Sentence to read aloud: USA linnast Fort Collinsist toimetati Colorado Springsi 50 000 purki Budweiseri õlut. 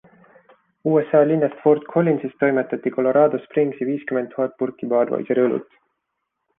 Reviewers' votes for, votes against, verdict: 0, 2, rejected